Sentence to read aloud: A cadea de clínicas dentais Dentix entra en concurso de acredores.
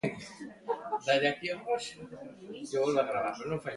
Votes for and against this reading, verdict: 0, 3, rejected